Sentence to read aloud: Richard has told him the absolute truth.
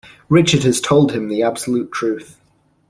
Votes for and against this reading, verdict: 2, 0, accepted